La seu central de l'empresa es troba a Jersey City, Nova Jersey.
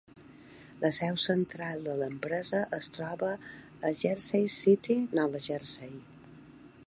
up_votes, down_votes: 2, 0